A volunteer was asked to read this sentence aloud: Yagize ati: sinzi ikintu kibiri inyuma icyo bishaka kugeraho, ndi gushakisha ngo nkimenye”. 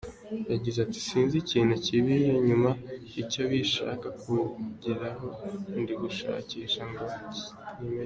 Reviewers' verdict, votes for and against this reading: accepted, 3, 1